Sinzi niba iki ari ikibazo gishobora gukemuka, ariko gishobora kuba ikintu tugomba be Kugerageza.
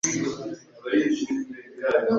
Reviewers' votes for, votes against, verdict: 1, 2, rejected